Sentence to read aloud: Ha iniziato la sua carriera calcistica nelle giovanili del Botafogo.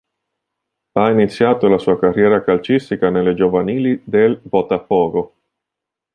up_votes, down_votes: 2, 0